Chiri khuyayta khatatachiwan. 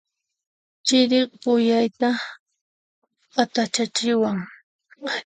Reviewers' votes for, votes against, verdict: 1, 2, rejected